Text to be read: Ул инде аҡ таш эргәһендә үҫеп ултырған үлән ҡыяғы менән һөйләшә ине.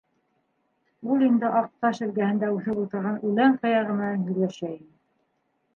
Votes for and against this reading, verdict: 2, 3, rejected